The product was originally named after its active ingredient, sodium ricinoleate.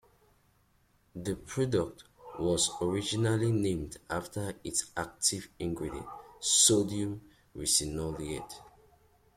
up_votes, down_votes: 2, 0